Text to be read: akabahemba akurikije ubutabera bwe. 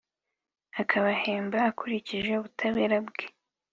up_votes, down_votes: 2, 0